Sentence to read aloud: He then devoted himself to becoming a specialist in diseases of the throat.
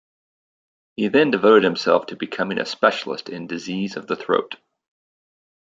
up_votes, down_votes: 0, 2